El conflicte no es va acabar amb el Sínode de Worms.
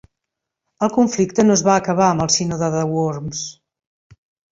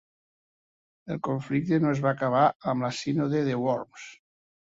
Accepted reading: first